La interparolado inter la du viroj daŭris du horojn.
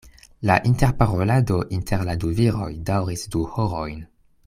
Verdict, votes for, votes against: accepted, 2, 0